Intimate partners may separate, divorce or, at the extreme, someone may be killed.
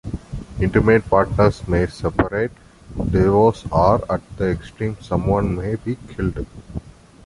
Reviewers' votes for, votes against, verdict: 1, 2, rejected